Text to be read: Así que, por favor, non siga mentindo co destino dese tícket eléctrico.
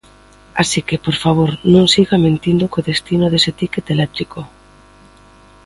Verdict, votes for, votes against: accepted, 2, 0